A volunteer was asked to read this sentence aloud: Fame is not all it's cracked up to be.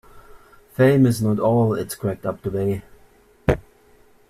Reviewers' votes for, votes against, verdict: 2, 0, accepted